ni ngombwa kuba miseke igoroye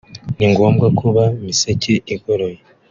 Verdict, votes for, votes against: accepted, 2, 0